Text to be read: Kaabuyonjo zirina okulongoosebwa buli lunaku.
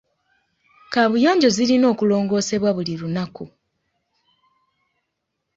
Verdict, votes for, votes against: accepted, 2, 0